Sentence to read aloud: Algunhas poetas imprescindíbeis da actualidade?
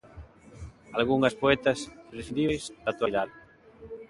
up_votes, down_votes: 2, 1